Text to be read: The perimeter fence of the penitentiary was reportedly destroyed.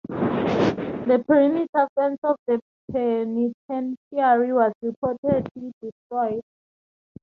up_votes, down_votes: 0, 2